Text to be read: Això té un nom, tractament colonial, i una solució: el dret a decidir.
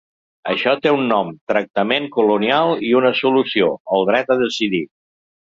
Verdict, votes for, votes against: accepted, 2, 0